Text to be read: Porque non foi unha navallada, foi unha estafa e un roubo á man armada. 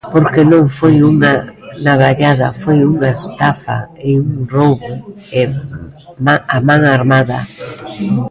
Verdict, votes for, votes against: rejected, 0, 2